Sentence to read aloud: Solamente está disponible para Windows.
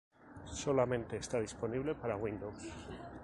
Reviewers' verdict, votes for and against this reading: accepted, 2, 0